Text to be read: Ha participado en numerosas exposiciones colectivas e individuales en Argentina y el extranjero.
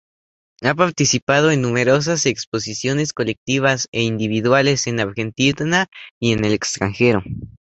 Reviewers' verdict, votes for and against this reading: accepted, 2, 0